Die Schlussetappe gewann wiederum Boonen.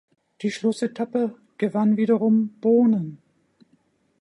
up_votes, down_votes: 2, 0